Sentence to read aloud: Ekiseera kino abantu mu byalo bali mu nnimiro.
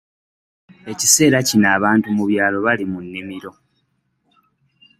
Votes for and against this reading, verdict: 2, 0, accepted